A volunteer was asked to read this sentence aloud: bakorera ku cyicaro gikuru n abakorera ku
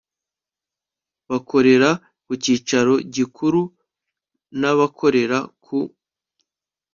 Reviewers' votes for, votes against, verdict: 2, 0, accepted